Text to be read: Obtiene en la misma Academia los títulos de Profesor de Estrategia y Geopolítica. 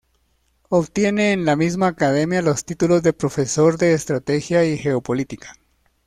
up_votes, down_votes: 2, 1